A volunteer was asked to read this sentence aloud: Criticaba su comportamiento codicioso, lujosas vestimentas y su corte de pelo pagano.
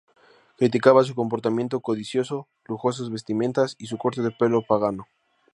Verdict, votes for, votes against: accepted, 2, 0